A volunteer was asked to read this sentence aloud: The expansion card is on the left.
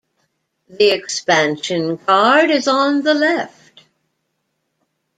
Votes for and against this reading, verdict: 2, 1, accepted